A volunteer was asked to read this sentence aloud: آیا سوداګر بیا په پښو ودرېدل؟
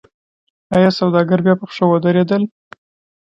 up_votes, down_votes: 2, 0